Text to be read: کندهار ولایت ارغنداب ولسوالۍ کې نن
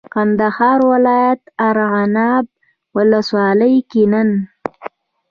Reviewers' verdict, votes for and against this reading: accepted, 2, 0